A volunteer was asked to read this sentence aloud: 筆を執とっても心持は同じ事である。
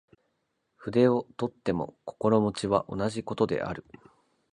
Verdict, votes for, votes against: accepted, 8, 2